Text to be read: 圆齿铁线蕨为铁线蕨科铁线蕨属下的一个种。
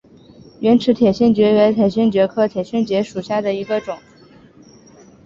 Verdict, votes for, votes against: accepted, 2, 0